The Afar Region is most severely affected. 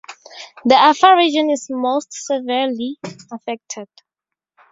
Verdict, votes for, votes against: accepted, 2, 0